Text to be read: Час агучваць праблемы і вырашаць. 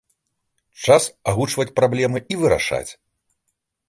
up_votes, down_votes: 2, 0